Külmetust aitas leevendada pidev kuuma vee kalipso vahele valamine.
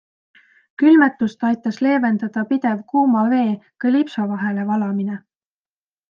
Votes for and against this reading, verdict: 2, 0, accepted